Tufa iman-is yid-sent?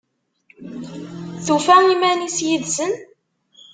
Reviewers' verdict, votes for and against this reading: rejected, 0, 2